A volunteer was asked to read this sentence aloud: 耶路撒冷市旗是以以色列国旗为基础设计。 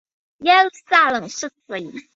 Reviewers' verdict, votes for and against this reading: rejected, 0, 2